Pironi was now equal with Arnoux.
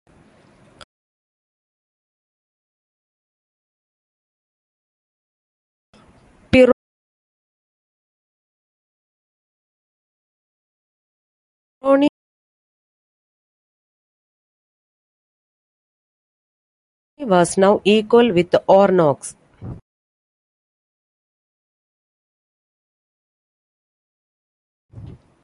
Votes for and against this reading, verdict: 0, 2, rejected